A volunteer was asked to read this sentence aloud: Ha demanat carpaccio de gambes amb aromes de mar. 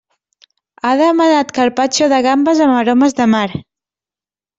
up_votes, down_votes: 2, 0